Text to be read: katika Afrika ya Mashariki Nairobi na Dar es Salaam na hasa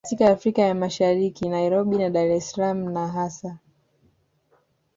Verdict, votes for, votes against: accepted, 2, 0